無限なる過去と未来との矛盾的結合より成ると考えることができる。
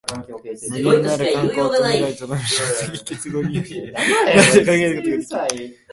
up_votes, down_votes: 0, 2